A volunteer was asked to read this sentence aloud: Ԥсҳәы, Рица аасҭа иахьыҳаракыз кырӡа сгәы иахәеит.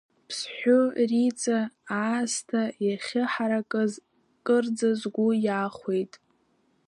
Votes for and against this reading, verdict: 2, 1, accepted